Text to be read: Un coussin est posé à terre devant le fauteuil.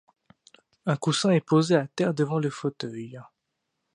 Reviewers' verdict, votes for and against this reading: accepted, 2, 0